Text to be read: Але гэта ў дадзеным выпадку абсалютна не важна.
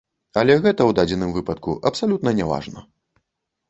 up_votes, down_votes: 1, 2